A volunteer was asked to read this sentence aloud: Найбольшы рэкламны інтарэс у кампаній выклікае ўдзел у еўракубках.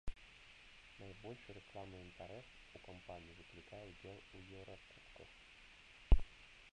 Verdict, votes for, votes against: rejected, 0, 2